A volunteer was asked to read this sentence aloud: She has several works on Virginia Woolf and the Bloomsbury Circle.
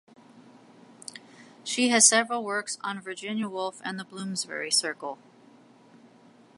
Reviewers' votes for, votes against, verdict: 2, 0, accepted